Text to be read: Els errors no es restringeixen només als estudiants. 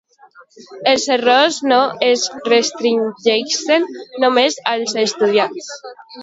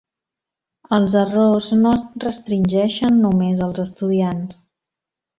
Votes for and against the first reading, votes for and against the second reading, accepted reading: 0, 2, 2, 0, second